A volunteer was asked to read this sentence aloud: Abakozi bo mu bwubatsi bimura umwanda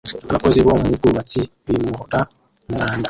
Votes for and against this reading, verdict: 0, 2, rejected